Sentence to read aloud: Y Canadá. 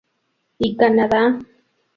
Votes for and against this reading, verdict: 2, 0, accepted